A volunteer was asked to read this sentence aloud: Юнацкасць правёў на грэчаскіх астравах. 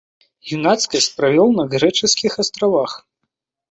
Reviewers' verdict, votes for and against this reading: accepted, 2, 0